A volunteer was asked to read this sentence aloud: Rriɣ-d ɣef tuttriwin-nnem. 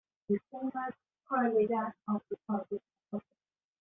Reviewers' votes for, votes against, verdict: 1, 2, rejected